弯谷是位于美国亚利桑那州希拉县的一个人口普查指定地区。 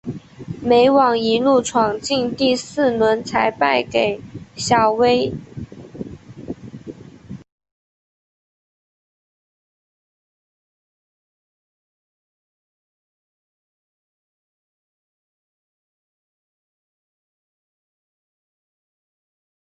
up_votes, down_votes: 0, 2